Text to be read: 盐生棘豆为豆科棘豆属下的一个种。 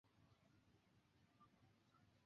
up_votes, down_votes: 3, 0